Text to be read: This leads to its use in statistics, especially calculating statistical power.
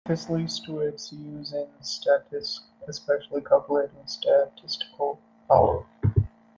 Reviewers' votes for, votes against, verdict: 2, 1, accepted